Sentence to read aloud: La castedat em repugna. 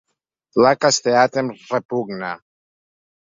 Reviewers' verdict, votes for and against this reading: rejected, 1, 2